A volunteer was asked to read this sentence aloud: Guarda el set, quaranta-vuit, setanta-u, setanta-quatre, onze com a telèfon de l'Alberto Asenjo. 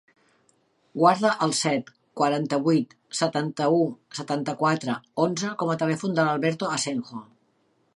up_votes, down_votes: 3, 0